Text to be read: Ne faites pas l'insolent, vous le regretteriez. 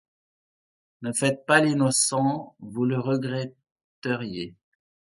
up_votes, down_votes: 1, 2